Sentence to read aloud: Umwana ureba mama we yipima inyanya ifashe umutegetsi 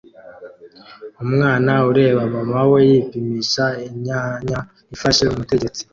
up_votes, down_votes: 1, 2